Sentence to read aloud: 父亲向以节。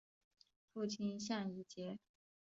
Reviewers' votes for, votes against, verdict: 2, 0, accepted